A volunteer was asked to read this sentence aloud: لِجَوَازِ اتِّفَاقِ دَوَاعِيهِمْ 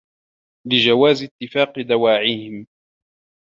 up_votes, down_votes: 2, 0